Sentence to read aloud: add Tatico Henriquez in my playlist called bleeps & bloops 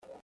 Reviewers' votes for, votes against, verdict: 0, 3, rejected